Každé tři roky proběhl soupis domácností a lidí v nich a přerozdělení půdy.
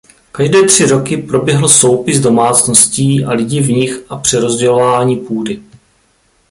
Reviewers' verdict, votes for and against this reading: rejected, 1, 2